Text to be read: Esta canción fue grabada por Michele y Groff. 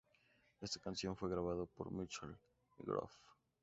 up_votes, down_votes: 0, 2